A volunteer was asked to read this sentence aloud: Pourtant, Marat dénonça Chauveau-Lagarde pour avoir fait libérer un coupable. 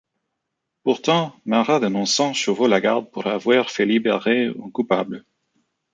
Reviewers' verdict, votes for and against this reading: rejected, 1, 2